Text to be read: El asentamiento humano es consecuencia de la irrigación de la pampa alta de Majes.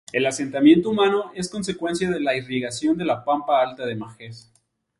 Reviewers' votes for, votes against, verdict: 0, 2, rejected